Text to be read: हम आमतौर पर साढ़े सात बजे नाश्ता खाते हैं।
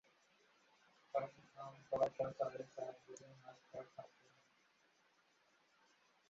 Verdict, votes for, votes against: rejected, 0, 2